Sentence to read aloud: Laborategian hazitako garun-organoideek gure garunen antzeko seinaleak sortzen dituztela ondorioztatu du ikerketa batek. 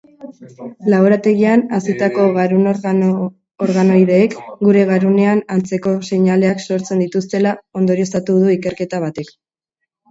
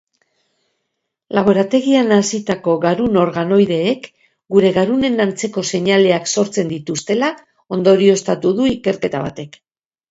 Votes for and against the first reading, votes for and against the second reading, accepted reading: 0, 3, 4, 0, second